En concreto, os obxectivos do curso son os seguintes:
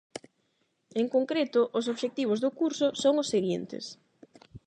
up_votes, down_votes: 8, 0